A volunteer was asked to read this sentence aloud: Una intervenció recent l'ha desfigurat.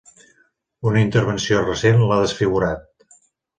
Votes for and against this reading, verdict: 3, 0, accepted